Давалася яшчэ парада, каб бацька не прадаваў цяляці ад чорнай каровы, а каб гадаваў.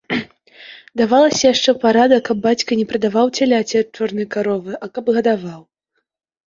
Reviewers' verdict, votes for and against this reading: accepted, 2, 0